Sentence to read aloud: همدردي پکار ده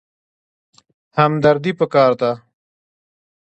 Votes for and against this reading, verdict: 2, 0, accepted